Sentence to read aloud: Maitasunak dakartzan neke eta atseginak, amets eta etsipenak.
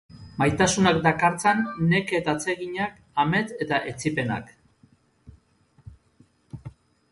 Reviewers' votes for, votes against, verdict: 0, 2, rejected